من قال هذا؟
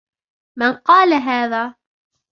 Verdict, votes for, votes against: rejected, 0, 2